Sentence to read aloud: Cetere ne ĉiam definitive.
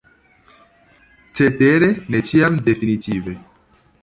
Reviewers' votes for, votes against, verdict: 2, 1, accepted